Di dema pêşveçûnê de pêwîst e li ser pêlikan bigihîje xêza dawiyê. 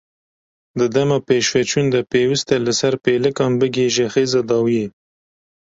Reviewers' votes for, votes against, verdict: 0, 2, rejected